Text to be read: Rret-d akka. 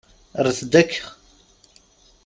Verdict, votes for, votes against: accepted, 2, 0